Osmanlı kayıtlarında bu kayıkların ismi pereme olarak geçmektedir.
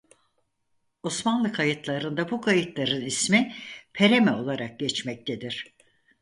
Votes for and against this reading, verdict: 4, 0, accepted